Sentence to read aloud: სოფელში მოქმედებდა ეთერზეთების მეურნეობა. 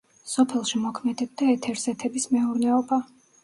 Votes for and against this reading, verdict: 0, 2, rejected